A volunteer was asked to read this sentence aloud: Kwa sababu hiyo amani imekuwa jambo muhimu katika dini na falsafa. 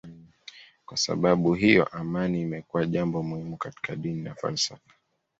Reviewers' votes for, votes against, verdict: 3, 0, accepted